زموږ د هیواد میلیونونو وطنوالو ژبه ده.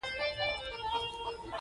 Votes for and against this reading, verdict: 1, 2, rejected